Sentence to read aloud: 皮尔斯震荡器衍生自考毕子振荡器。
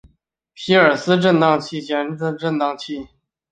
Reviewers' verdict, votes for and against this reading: rejected, 0, 2